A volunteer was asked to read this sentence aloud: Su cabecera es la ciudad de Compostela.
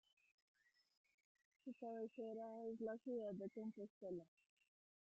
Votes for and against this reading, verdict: 0, 2, rejected